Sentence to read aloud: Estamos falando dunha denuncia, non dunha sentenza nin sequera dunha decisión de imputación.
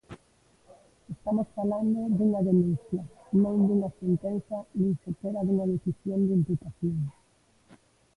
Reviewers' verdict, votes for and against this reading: rejected, 1, 2